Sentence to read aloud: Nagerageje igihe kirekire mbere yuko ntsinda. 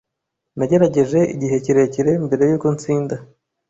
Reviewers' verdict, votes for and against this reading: accepted, 2, 0